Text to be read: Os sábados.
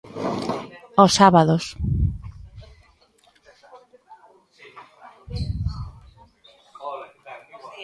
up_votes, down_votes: 0, 3